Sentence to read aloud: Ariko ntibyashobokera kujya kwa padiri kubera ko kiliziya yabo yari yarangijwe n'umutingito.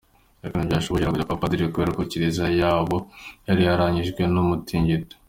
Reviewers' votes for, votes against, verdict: 2, 1, accepted